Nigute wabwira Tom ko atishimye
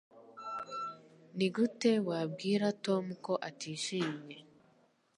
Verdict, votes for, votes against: accepted, 3, 0